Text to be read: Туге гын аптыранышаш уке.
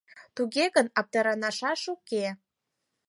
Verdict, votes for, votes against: rejected, 2, 4